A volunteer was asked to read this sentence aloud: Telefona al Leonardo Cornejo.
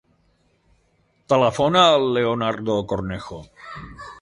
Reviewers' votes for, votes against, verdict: 3, 0, accepted